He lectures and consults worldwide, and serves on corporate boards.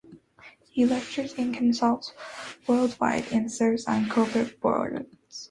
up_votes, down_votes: 1, 3